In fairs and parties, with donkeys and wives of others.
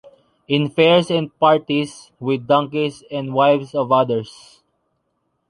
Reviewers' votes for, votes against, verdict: 2, 0, accepted